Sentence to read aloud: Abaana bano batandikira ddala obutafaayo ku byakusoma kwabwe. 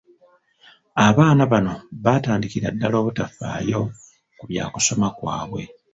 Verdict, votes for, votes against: rejected, 0, 2